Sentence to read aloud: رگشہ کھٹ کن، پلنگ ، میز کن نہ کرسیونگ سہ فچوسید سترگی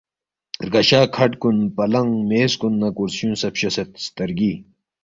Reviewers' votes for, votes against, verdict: 2, 0, accepted